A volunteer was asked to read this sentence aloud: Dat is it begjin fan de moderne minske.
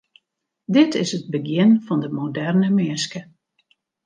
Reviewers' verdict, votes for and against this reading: rejected, 0, 2